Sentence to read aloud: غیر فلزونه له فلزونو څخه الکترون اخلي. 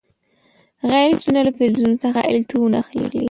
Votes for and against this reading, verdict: 2, 1, accepted